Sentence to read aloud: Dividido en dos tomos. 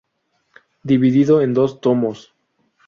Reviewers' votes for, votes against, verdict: 0, 2, rejected